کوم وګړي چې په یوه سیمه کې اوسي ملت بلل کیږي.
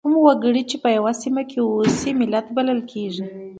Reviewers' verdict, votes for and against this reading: accepted, 2, 0